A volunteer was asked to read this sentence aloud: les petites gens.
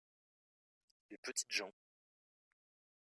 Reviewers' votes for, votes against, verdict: 2, 0, accepted